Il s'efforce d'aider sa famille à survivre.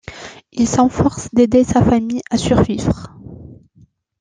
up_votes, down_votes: 0, 2